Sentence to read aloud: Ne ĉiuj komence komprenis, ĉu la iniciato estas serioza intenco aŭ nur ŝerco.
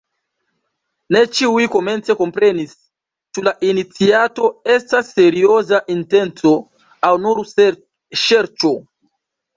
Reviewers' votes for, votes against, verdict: 0, 2, rejected